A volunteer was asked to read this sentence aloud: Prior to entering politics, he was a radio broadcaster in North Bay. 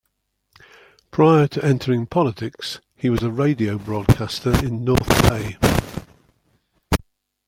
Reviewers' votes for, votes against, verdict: 1, 2, rejected